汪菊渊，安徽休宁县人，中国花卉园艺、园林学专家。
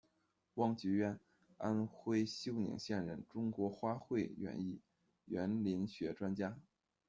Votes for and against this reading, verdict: 1, 2, rejected